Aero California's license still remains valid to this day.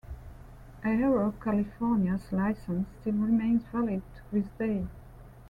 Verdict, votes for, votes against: rejected, 0, 2